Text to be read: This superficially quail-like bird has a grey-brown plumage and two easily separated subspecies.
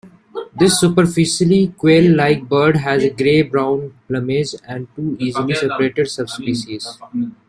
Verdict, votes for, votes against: accepted, 2, 0